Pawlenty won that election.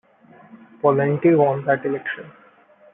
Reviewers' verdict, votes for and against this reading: rejected, 1, 2